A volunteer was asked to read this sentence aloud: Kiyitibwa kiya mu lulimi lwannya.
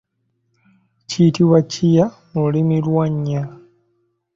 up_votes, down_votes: 2, 1